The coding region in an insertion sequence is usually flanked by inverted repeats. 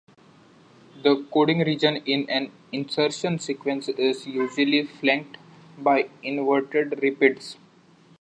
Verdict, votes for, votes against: accepted, 2, 1